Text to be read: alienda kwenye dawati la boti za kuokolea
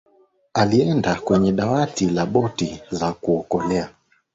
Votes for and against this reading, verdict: 2, 0, accepted